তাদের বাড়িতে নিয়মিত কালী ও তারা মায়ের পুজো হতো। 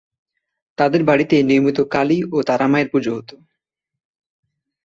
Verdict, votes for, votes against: accepted, 3, 0